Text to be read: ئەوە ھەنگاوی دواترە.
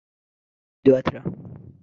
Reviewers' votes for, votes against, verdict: 0, 2, rejected